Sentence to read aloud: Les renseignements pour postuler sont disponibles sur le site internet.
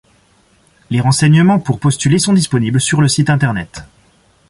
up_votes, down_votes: 2, 0